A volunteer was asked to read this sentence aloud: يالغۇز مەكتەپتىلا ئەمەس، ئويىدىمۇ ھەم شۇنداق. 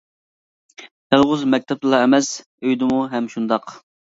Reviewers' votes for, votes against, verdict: 0, 2, rejected